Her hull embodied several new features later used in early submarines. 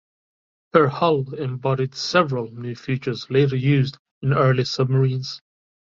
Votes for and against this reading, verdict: 2, 0, accepted